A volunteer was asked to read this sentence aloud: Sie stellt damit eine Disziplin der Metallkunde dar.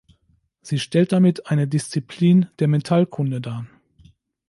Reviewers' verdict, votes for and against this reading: accepted, 2, 0